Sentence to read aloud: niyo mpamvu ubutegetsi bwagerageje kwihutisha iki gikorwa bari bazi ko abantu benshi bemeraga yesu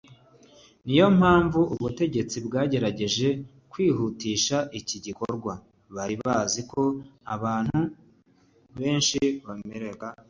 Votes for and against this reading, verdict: 0, 2, rejected